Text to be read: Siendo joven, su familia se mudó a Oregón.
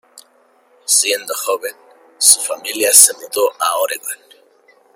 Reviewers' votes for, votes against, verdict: 1, 2, rejected